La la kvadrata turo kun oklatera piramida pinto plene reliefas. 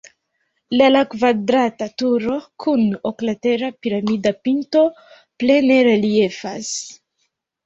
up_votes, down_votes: 2, 0